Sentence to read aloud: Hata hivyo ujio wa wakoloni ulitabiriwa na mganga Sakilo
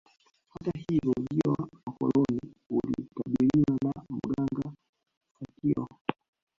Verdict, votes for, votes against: rejected, 0, 2